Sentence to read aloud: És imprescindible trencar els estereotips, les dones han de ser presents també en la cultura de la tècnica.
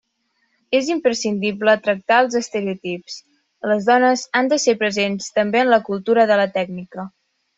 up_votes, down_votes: 2, 1